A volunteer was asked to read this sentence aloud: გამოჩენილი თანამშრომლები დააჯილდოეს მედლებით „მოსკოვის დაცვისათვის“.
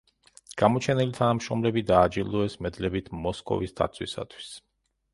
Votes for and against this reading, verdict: 2, 0, accepted